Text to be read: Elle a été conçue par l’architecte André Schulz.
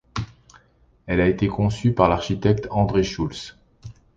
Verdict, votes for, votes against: accepted, 2, 0